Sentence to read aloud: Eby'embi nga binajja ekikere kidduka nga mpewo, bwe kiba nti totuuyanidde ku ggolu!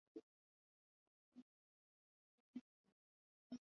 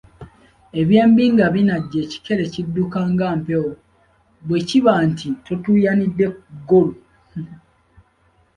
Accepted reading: second